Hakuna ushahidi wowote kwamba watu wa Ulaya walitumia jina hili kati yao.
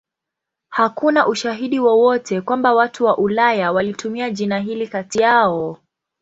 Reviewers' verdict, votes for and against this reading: accepted, 2, 0